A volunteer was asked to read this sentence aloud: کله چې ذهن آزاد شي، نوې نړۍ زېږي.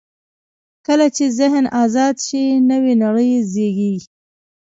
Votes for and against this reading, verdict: 2, 1, accepted